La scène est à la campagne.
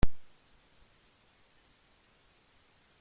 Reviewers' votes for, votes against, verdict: 0, 2, rejected